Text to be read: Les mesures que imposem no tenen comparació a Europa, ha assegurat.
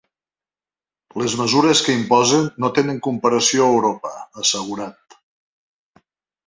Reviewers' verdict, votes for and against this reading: rejected, 0, 2